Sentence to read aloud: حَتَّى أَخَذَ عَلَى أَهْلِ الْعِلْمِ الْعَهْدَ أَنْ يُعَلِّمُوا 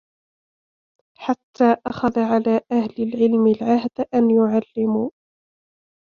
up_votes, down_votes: 2, 1